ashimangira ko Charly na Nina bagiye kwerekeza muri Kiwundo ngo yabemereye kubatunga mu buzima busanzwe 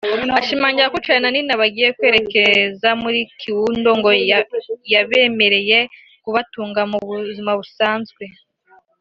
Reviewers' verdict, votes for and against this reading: accepted, 3, 1